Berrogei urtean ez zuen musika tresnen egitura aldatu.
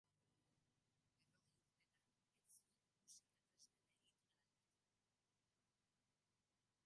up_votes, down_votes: 0, 2